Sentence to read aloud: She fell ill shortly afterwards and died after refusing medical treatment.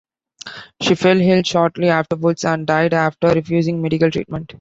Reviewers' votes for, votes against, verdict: 2, 0, accepted